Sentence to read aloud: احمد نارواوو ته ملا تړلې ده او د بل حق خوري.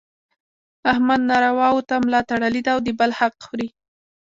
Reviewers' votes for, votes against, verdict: 1, 2, rejected